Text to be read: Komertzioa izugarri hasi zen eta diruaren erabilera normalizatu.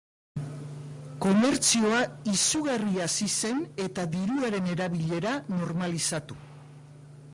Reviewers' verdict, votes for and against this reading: accepted, 2, 0